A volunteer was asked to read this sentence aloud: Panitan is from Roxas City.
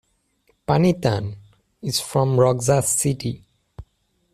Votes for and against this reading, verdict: 2, 1, accepted